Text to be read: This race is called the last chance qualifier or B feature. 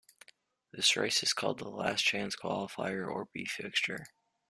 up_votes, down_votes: 0, 2